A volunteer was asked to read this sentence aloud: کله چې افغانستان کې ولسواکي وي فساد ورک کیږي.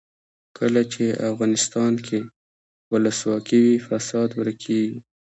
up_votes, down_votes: 2, 0